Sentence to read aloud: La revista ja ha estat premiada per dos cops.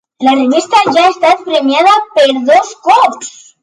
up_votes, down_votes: 2, 3